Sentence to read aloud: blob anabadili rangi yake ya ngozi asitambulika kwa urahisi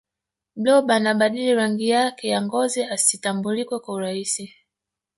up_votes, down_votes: 3, 2